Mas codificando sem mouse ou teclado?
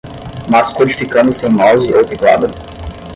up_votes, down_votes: 5, 5